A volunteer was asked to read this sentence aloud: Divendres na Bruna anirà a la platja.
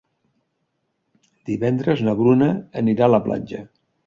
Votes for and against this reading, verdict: 3, 0, accepted